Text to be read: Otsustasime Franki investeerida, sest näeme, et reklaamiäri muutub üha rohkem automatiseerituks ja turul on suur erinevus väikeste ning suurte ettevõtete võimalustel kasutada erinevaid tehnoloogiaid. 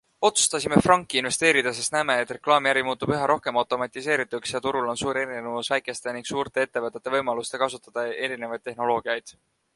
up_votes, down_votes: 2, 0